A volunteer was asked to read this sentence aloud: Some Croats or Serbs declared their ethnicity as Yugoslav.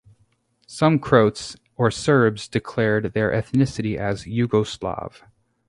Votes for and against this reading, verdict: 4, 0, accepted